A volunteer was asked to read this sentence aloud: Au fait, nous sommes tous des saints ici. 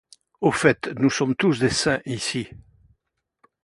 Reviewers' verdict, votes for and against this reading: accepted, 2, 0